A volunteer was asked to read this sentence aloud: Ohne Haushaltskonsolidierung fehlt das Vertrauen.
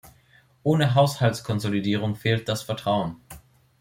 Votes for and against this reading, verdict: 2, 0, accepted